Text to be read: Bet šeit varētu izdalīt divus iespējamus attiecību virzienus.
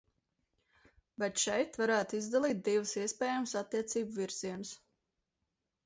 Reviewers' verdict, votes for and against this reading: accepted, 2, 0